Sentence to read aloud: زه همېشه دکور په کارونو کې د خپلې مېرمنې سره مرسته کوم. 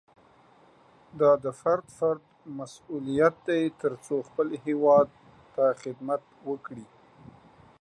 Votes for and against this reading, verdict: 0, 2, rejected